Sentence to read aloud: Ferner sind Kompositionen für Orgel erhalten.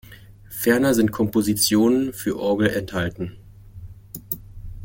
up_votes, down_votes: 1, 2